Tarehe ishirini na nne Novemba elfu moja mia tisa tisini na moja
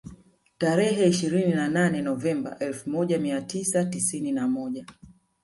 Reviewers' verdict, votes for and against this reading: rejected, 0, 2